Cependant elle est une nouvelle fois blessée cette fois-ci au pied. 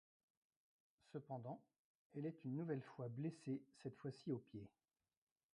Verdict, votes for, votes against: rejected, 0, 2